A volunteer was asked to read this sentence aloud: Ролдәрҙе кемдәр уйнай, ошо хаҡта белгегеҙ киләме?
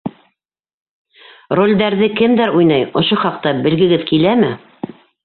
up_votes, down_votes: 3, 0